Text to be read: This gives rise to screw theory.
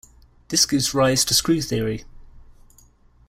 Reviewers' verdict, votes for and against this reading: accepted, 2, 0